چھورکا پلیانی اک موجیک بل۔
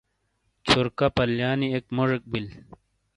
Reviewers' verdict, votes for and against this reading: accepted, 2, 0